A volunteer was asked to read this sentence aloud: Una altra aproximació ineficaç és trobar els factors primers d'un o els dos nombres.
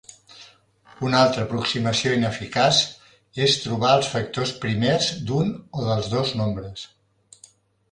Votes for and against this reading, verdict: 0, 2, rejected